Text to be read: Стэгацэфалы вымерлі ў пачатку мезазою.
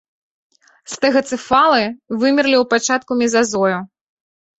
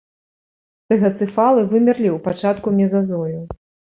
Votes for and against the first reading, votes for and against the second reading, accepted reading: 3, 0, 1, 2, first